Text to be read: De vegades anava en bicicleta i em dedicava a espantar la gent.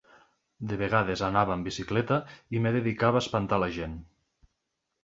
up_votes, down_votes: 0, 2